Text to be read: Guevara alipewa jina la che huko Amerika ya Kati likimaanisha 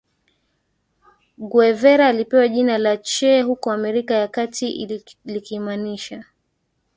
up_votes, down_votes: 2, 1